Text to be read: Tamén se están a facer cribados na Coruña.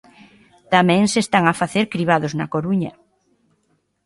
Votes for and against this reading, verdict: 2, 0, accepted